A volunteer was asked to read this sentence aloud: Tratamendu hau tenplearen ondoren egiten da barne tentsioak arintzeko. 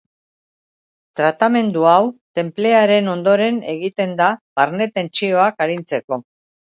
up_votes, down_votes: 2, 0